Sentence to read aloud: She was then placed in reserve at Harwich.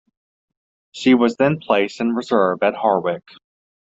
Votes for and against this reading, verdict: 2, 0, accepted